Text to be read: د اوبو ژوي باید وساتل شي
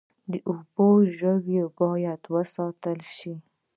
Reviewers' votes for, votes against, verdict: 2, 0, accepted